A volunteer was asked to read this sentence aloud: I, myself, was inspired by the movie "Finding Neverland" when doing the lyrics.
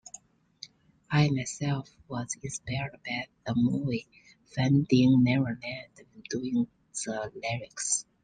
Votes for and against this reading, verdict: 2, 0, accepted